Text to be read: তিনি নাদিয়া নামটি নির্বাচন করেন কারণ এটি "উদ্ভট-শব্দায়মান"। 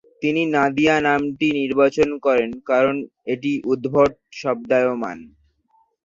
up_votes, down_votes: 4, 2